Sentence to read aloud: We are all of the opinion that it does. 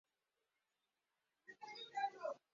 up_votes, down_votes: 0, 2